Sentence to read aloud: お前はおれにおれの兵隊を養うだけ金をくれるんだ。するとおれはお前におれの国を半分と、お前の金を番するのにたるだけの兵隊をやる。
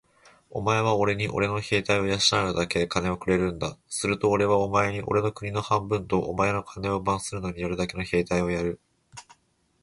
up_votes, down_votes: 4, 0